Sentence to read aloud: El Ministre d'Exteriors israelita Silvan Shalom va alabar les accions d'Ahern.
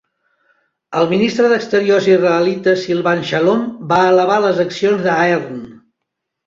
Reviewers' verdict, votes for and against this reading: rejected, 0, 2